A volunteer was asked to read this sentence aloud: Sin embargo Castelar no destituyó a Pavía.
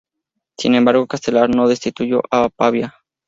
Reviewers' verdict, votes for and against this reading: accepted, 2, 0